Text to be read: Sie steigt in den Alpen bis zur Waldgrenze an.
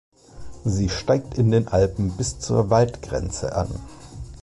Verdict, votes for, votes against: accepted, 2, 0